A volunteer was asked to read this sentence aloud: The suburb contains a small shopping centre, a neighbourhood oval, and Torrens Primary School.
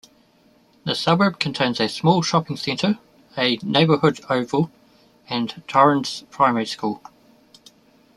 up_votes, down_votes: 2, 0